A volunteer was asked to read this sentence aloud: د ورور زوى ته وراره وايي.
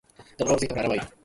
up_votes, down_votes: 2, 4